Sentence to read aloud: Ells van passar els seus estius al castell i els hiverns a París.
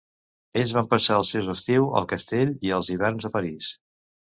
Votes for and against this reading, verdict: 1, 2, rejected